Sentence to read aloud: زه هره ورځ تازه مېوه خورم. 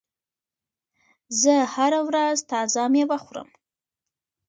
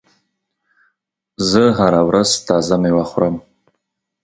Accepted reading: second